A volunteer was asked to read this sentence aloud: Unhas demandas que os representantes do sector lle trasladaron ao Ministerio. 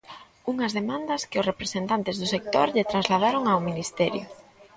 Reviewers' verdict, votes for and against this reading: accepted, 2, 0